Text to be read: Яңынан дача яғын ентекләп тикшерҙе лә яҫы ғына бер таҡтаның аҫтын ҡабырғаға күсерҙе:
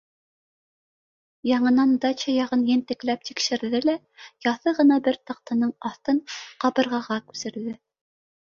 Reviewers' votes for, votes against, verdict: 2, 0, accepted